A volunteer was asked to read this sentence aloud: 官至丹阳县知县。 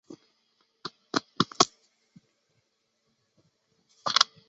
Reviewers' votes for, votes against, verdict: 1, 4, rejected